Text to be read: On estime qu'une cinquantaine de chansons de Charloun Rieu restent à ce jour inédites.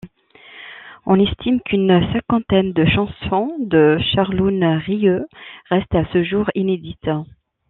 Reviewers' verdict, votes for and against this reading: accepted, 2, 0